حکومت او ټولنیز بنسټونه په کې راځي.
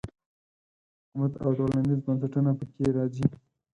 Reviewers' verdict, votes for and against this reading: rejected, 2, 4